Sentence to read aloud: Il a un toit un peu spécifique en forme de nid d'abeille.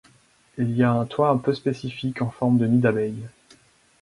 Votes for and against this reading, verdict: 2, 4, rejected